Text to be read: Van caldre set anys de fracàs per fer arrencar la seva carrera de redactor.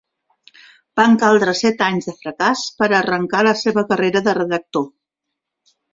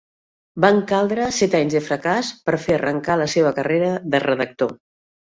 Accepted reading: second